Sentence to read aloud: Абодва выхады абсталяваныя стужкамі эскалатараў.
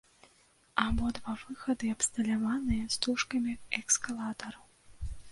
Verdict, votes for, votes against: rejected, 0, 2